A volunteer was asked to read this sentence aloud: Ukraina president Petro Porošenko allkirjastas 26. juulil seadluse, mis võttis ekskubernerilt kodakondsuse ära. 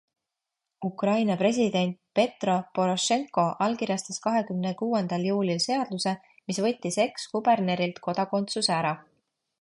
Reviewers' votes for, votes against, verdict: 0, 2, rejected